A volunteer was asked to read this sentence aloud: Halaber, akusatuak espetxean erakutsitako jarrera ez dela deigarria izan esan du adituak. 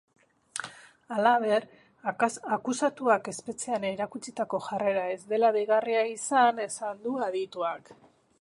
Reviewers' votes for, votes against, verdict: 1, 2, rejected